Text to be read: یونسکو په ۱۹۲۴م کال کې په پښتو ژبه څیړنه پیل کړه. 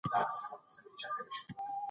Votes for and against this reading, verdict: 0, 2, rejected